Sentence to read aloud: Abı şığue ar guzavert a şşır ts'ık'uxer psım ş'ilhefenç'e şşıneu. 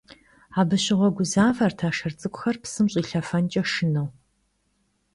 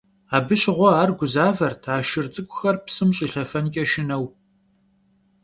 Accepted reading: second